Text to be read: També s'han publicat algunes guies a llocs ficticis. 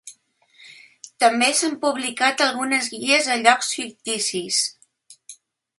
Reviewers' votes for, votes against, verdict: 2, 0, accepted